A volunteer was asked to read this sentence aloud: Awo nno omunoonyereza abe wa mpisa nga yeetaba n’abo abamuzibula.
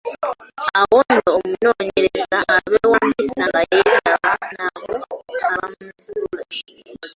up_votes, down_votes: 1, 3